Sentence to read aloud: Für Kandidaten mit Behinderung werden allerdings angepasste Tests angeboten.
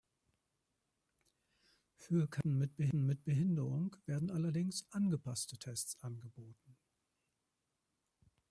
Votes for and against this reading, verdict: 0, 2, rejected